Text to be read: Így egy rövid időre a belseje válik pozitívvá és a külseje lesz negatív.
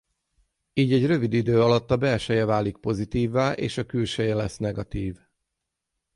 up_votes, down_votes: 0, 6